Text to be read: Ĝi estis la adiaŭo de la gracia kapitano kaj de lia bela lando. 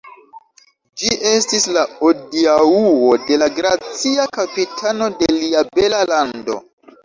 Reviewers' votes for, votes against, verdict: 1, 2, rejected